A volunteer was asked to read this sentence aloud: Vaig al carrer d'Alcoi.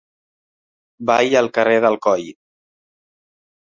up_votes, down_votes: 0, 2